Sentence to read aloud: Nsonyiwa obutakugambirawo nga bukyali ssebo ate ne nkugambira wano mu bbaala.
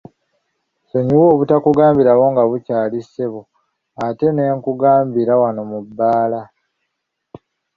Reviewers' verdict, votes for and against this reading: accepted, 2, 0